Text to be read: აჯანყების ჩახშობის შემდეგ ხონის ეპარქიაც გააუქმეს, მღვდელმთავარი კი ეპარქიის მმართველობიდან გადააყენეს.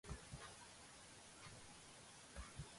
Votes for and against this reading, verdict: 0, 2, rejected